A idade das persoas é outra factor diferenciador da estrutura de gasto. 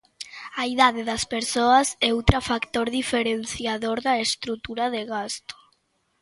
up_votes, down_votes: 2, 1